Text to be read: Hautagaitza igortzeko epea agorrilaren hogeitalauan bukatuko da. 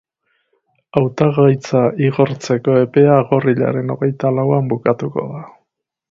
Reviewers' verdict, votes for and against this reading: accepted, 4, 0